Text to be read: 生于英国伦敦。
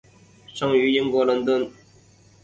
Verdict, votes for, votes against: accepted, 5, 0